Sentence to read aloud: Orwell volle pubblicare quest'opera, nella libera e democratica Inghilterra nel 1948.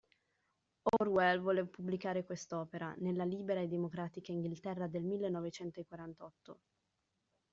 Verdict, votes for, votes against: rejected, 0, 2